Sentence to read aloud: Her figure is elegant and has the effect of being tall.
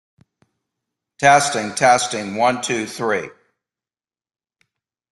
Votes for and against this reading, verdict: 0, 2, rejected